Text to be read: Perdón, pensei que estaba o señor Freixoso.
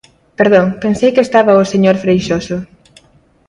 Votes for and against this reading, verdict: 2, 0, accepted